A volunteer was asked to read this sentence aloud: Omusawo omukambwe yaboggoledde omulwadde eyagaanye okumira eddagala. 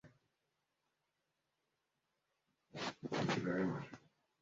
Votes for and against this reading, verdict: 0, 2, rejected